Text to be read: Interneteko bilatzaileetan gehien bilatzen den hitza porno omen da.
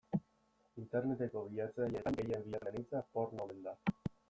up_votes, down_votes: 2, 1